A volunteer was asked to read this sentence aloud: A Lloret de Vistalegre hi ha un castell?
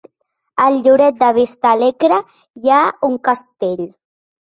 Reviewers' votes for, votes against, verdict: 1, 3, rejected